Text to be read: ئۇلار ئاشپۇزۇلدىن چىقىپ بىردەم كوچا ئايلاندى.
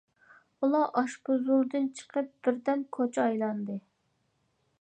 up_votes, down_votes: 2, 0